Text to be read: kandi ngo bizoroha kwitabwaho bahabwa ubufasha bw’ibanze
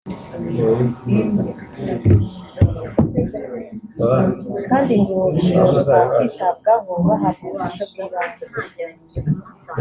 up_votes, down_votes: 1, 2